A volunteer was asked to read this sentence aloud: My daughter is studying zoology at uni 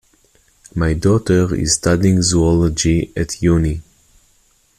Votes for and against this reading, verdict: 2, 0, accepted